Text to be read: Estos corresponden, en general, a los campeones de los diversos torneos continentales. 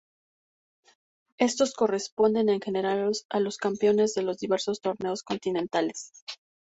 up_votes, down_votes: 0, 2